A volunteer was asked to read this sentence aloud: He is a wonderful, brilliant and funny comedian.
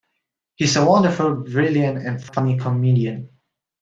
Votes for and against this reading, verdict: 1, 2, rejected